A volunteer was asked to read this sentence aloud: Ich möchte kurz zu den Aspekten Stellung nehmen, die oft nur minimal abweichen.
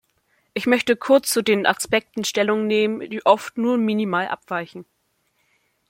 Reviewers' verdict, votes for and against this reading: accepted, 2, 0